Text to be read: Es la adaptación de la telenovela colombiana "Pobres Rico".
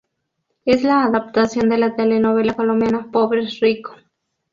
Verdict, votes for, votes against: accepted, 2, 0